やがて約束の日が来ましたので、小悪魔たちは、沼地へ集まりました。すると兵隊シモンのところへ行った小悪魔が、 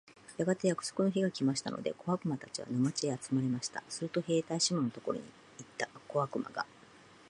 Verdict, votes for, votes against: accepted, 2, 0